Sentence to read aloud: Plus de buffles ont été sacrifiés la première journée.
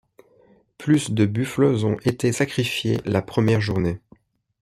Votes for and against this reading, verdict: 1, 2, rejected